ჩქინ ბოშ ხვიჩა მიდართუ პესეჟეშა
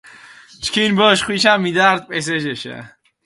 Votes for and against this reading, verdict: 0, 4, rejected